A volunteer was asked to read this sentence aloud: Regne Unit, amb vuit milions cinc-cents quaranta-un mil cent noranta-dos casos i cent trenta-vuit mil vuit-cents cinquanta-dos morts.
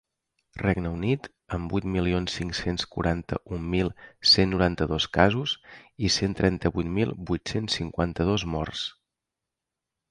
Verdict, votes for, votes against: accepted, 3, 0